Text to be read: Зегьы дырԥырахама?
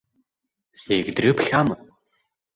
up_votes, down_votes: 1, 2